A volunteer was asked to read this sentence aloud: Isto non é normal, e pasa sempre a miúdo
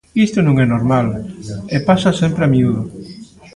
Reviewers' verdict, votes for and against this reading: accepted, 2, 0